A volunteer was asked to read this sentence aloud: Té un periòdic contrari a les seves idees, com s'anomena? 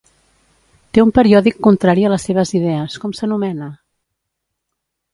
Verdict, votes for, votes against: accepted, 2, 0